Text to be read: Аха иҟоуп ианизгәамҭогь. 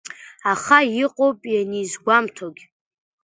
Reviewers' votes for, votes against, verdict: 2, 0, accepted